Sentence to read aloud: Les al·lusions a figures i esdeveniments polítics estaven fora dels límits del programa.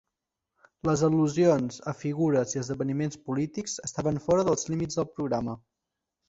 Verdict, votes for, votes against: accepted, 2, 1